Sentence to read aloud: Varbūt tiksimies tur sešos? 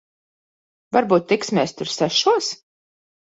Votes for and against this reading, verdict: 2, 0, accepted